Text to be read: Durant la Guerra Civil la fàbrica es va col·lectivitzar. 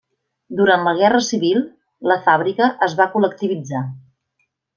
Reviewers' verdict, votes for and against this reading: accepted, 3, 0